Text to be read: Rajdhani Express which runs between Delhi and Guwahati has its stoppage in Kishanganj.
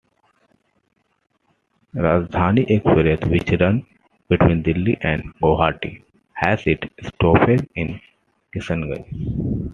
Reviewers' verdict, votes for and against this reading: accepted, 2, 0